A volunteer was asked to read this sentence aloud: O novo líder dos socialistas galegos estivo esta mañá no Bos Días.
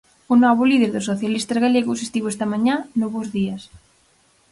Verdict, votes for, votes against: accepted, 4, 0